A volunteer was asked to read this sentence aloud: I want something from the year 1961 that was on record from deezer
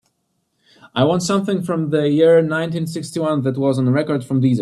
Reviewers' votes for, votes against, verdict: 0, 2, rejected